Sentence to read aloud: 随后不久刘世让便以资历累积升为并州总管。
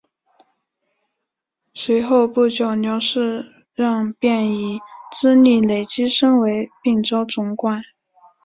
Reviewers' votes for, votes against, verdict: 2, 0, accepted